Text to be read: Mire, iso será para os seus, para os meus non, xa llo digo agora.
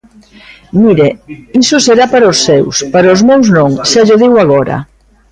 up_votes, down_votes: 2, 0